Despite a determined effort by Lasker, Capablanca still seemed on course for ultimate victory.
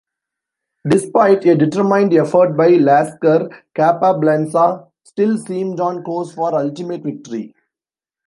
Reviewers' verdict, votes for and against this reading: accepted, 2, 1